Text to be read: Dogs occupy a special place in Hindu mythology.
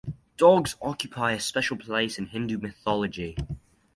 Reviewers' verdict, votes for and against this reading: accepted, 2, 0